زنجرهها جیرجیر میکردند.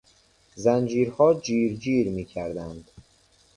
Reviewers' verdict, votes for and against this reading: rejected, 1, 2